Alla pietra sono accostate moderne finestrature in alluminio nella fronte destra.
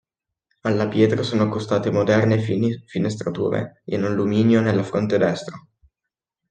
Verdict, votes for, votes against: accepted, 2, 0